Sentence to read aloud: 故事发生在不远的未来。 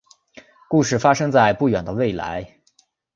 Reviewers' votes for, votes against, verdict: 5, 0, accepted